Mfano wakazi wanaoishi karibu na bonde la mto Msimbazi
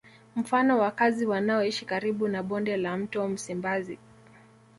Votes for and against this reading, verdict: 1, 2, rejected